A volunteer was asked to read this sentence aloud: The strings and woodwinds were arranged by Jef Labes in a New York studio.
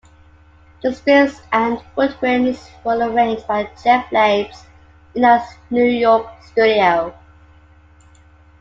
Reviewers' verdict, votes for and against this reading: accepted, 2, 1